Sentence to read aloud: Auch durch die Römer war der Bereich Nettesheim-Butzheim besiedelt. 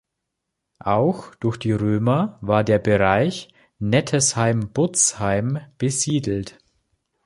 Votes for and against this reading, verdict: 2, 0, accepted